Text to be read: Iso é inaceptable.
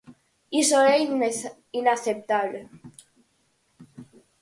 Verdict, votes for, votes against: rejected, 0, 4